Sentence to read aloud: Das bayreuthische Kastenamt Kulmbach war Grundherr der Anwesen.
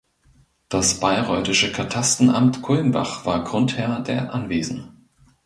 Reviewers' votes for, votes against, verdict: 1, 2, rejected